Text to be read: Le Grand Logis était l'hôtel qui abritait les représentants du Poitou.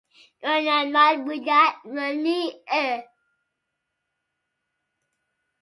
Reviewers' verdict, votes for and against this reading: rejected, 0, 2